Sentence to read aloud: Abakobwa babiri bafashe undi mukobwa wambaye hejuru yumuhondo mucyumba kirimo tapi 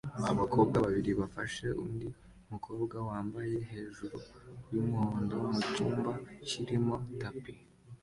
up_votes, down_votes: 2, 0